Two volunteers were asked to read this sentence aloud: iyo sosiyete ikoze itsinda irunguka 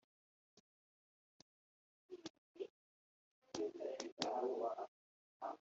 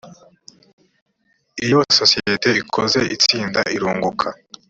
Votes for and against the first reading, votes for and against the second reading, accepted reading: 0, 2, 2, 0, second